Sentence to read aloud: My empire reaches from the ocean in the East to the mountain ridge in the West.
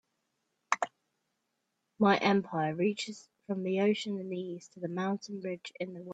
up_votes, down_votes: 1, 2